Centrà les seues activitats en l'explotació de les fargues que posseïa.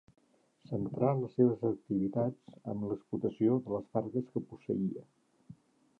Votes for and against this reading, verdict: 2, 3, rejected